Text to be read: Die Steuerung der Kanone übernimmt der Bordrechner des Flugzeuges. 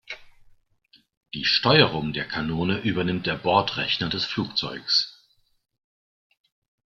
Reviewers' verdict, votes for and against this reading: accepted, 2, 1